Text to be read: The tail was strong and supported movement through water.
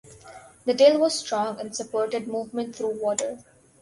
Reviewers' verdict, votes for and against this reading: rejected, 0, 2